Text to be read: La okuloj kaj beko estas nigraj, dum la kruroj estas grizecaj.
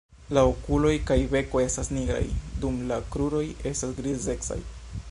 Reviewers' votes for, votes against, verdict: 2, 0, accepted